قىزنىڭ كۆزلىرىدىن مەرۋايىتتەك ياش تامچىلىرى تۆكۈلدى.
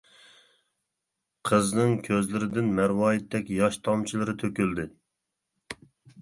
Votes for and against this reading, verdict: 2, 0, accepted